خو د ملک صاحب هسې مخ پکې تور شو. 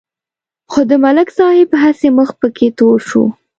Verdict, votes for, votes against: accepted, 2, 0